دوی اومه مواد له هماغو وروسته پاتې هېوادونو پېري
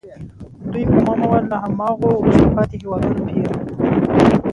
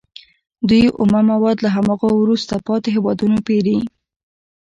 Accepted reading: second